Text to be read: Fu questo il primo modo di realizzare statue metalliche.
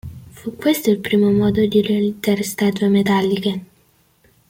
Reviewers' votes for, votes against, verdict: 2, 0, accepted